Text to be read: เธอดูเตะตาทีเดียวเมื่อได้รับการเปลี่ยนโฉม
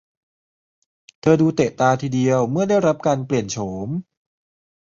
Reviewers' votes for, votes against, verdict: 2, 0, accepted